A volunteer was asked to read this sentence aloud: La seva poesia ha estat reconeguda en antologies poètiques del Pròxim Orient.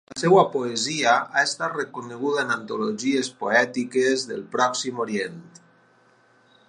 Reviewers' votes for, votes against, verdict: 0, 4, rejected